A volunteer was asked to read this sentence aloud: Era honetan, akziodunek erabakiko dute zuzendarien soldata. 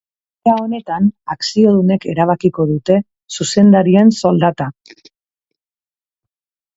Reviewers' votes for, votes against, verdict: 4, 4, rejected